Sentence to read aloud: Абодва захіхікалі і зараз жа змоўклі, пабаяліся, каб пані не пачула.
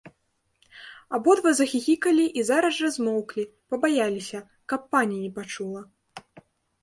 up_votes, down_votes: 2, 0